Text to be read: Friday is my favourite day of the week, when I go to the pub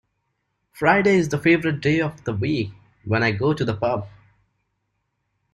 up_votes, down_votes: 1, 2